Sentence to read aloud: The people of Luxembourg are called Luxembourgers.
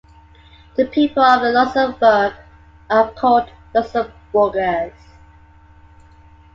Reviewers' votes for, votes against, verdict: 2, 0, accepted